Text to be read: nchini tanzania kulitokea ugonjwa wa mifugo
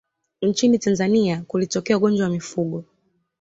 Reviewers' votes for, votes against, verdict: 2, 0, accepted